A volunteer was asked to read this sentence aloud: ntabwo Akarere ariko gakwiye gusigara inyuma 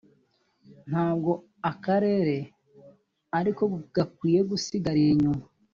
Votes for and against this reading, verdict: 0, 2, rejected